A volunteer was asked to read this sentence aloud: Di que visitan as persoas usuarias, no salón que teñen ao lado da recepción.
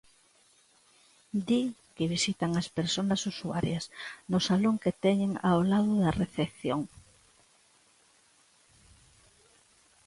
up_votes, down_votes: 0, 2